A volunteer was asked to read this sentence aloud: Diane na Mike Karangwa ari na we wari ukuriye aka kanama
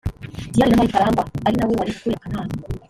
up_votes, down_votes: 1, 2